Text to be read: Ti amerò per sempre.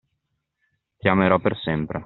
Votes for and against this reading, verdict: 2, 0, accepted